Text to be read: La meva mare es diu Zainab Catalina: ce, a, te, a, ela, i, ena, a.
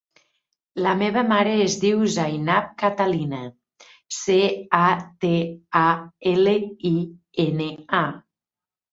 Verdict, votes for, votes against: rejected, 1, 2